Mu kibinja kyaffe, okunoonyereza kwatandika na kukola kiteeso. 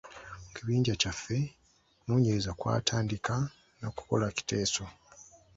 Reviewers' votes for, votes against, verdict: 2, 1, accepted